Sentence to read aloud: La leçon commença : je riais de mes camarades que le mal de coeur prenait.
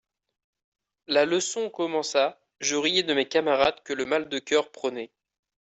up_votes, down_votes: 2, 0